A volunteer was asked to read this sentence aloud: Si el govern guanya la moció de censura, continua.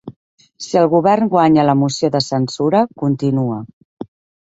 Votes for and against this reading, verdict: 2, 0, accepted